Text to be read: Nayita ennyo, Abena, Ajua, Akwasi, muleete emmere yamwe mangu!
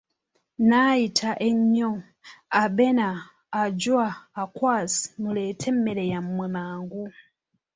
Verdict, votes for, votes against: accepted, 2, 1